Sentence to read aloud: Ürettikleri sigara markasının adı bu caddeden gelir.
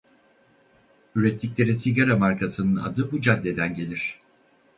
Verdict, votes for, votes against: rejected, 2, 2